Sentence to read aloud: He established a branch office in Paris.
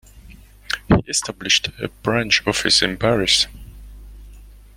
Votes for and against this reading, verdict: 0, 2, rejected